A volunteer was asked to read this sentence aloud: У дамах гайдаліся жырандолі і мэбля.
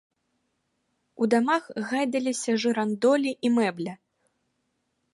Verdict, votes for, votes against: rejected, 1, 2